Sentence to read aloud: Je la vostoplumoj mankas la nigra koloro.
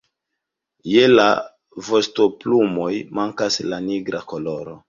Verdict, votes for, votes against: accepted, 2, 0